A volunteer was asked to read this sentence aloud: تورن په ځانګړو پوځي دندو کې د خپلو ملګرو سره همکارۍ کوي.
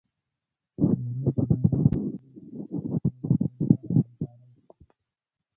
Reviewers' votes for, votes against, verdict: 0, 3, rejected